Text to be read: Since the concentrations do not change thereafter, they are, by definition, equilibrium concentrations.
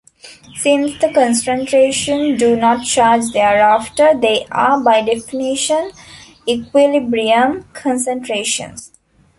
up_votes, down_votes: 1, 2